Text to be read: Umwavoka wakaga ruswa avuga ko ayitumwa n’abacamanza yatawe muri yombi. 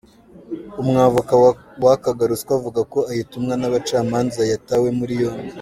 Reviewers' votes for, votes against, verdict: 1, 2, rejected